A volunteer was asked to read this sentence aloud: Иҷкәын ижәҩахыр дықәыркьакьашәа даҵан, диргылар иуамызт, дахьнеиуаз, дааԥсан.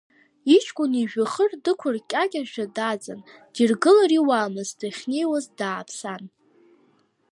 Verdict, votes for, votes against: rejected, 0, 2